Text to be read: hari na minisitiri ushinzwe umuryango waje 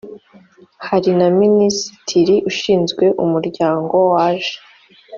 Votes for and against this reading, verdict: 2, 0, accepted